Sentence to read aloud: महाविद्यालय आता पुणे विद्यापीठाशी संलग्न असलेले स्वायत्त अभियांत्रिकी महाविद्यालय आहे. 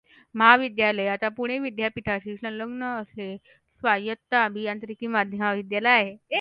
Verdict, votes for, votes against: accepted, 2, 1